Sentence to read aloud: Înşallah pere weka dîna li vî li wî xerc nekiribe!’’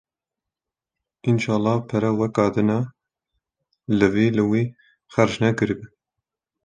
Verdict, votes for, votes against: accepted, 2, 0